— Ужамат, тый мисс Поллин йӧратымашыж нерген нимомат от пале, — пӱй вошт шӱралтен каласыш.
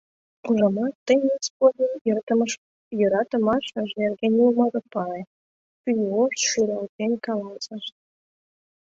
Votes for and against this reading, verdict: 1, 2, rejected